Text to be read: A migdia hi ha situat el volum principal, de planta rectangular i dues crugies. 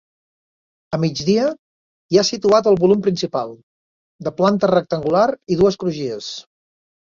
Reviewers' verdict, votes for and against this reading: accepted, 3, 0